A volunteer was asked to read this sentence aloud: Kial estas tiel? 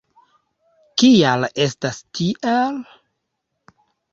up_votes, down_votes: 2, 0